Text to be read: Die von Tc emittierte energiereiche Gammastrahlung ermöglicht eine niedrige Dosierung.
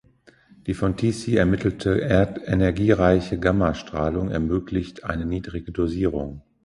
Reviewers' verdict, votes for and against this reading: rejected, 0, 2